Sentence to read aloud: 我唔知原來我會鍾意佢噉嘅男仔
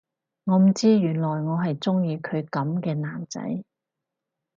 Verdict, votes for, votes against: rejected, 2, 2